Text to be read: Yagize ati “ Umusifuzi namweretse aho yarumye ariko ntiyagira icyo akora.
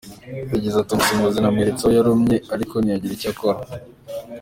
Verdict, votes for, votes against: accepted, 2, 1